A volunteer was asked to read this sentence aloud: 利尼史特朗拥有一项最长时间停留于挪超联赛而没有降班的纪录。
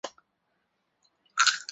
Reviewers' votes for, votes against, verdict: 1, 2, rejected